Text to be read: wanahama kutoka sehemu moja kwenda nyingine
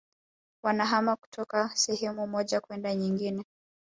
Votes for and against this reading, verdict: 0, 2, rejected